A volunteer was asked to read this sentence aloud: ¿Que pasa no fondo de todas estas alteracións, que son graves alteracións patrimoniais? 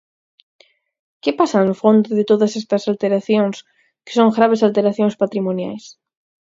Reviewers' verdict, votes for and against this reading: accepted, 4, 0